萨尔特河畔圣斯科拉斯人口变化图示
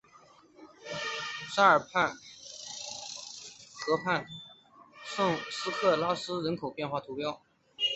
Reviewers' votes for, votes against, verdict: 1, 3, rejected